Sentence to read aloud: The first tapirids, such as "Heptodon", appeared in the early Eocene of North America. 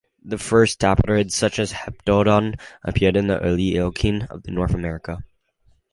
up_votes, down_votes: 2, 0